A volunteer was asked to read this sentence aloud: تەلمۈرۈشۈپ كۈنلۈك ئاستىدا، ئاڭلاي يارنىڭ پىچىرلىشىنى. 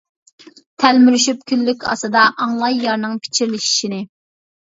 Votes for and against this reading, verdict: 0, 2, rejected